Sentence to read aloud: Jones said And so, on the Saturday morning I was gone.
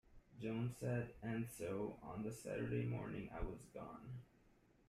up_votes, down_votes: 2, 0